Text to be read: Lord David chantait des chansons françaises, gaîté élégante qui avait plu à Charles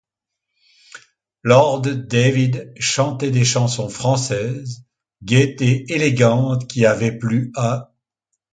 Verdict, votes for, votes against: rejected, 0, 2